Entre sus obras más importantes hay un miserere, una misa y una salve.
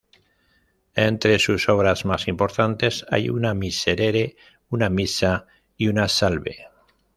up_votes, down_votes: 1, 2